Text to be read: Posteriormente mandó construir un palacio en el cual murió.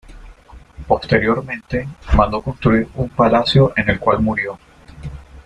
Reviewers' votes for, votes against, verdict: 1, 2, rejected